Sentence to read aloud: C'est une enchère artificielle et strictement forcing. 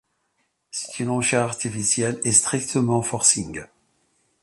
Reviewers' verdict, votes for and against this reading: accepted, 2, 0